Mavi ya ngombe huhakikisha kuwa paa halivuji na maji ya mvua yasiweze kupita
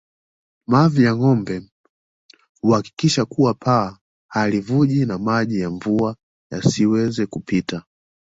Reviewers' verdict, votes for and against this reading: accepted, 2, 0